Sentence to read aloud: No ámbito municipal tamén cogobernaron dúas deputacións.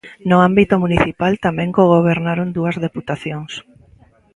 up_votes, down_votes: 1, 2